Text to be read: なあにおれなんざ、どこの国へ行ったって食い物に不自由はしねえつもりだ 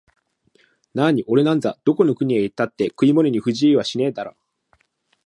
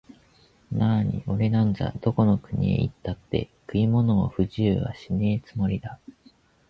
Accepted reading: second